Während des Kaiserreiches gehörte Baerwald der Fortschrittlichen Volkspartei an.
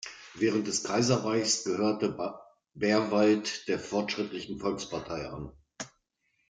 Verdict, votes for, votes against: rejected, 1, 2